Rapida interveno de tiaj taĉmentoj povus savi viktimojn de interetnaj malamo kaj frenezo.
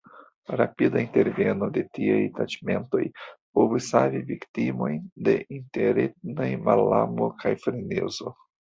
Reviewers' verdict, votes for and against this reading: rejected, 0, 2